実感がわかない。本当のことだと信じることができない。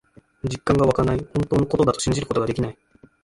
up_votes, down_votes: 1, 2